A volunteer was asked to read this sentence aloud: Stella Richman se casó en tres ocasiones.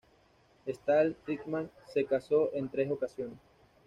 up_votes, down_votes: 0, 2